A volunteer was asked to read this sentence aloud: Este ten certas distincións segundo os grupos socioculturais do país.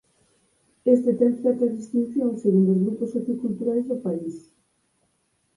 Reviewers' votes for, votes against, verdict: 2, 4, rejected